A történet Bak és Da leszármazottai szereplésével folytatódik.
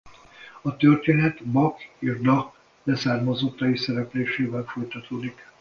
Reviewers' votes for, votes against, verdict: 2, 0, accepted